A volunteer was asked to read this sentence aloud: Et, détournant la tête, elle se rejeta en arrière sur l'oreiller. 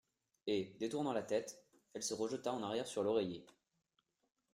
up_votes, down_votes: 2, 0